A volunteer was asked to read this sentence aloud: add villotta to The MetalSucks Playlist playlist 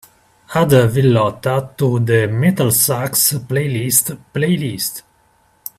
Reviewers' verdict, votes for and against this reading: rejected, 3, 4